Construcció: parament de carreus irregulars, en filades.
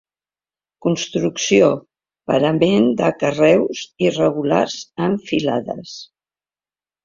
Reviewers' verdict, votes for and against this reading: accepted, 2, 0